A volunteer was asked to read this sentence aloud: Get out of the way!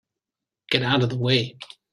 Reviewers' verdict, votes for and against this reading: accepted, 2, 0